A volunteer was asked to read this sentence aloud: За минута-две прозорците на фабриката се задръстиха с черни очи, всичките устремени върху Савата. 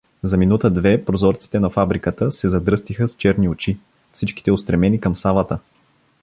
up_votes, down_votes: 0, 2